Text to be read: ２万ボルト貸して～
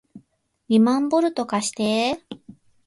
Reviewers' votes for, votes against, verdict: 0, 2, rejected